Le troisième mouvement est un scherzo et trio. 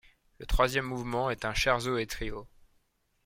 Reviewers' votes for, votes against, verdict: 1, 2, rejected